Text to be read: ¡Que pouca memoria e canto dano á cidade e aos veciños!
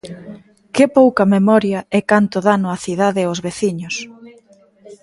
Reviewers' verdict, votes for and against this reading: accepted, 2, 1